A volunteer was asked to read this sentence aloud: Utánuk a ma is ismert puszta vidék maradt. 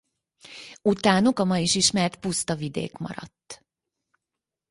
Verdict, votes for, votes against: accepted, 4, 2